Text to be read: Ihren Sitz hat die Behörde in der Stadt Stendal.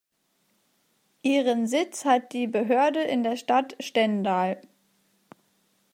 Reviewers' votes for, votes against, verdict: 2, 0, accepted